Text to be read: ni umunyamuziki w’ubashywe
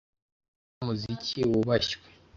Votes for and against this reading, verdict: 1, 2, rejected